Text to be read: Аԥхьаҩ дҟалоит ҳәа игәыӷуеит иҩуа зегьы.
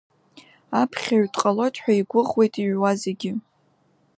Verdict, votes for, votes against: accepted, 2, 0